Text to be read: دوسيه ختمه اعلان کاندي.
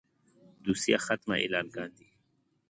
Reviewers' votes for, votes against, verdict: 2, 0, accepted